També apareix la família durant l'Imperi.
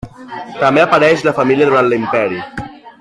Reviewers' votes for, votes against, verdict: 3, 1, accepted